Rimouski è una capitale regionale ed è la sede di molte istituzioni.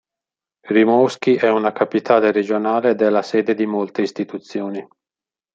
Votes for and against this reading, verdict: 2, 0, accepted